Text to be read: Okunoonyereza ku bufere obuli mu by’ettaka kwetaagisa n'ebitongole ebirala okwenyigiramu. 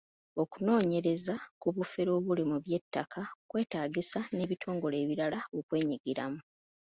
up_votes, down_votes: 2, 0